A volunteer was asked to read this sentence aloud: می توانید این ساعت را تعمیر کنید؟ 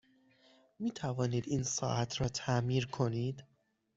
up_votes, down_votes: 6, 0